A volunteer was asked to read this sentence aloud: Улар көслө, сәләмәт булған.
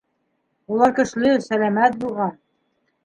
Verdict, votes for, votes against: rejected, 0, 2